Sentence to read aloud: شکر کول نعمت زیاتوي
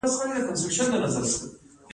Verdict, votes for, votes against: rejected, 0, 2